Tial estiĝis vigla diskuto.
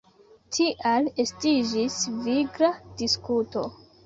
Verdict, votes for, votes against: accepted, 2, 1